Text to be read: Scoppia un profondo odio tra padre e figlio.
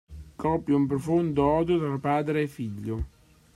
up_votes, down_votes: 1, 2